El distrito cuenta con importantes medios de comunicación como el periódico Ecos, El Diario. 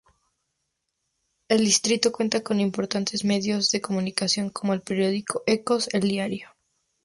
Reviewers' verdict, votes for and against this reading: accepted, 2, 0